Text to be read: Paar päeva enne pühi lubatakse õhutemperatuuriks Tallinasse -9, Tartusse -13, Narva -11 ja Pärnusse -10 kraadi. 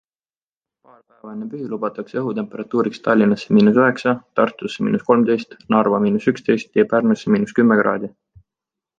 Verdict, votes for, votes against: rejected, 0, 2